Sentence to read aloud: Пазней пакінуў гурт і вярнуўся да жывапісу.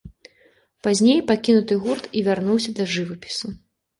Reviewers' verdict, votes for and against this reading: rejected, 0, 2